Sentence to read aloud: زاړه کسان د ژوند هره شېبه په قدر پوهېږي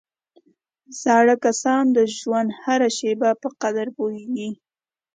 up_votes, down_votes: 2, 0